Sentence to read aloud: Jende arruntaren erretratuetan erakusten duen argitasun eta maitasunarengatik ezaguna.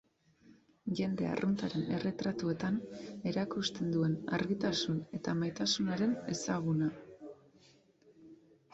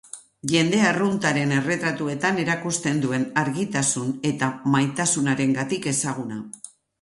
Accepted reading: second